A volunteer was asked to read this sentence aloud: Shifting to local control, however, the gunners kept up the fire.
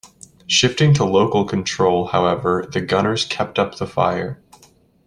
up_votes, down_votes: 2, 0